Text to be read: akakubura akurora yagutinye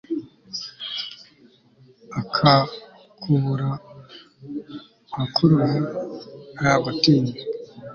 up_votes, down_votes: 2, 0